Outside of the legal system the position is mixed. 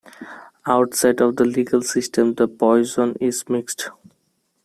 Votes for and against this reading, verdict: 0, 2, rejected